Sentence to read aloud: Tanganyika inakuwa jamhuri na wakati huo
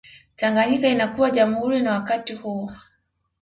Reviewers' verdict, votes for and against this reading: accepted, 3, 0